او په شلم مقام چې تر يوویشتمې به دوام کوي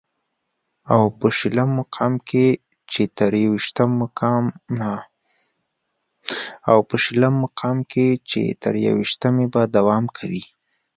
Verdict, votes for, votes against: rejected, 0, 2